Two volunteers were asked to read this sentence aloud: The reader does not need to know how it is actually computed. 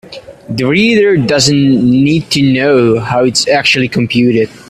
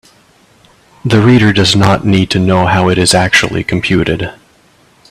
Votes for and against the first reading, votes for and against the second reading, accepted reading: 1, 2, 2, 0, second